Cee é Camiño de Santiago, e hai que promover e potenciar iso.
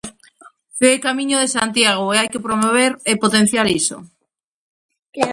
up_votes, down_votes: 0, 2